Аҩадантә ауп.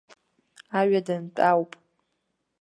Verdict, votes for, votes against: accepted, 2, 0